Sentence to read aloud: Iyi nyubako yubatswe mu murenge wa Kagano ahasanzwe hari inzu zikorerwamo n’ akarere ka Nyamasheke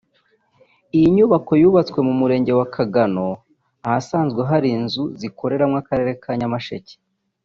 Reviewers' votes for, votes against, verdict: 1, 2, rejected